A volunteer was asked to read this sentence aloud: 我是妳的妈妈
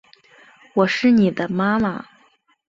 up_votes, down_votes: 4, 1